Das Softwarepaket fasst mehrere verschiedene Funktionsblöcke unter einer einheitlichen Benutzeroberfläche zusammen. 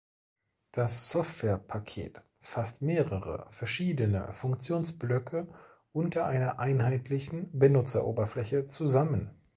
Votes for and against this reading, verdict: 2, 0, accepted